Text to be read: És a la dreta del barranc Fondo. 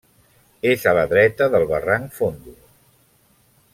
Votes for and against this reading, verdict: 2, 0, accepted